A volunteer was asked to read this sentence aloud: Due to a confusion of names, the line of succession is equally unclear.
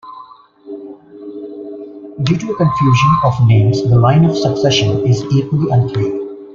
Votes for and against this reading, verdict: 1, 2, rejected